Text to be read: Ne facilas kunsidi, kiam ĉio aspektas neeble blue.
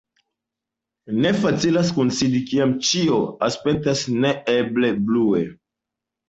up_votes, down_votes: 2, 0